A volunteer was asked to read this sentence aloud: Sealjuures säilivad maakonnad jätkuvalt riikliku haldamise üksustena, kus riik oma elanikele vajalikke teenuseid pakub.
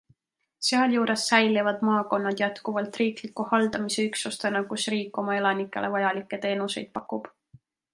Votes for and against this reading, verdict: 2, 0, accepted